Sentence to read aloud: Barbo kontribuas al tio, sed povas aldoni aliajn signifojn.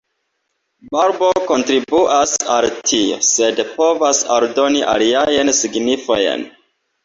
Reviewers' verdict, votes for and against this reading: accepted, 2, 1